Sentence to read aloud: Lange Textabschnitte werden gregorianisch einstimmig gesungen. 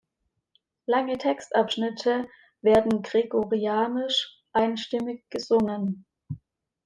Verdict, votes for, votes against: accepted, 2, 0